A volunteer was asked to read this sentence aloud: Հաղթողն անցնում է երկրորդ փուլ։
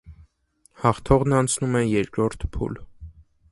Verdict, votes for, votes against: accepted, 2, 0